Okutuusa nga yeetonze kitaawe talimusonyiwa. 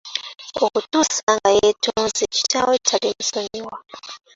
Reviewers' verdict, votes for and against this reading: accepted, 2, 1